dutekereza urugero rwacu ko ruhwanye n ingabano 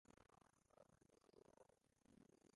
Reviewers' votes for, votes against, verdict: 1, 2, rejected